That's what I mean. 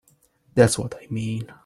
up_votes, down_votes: 1, 2